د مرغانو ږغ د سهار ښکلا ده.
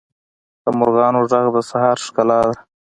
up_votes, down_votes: 2, 0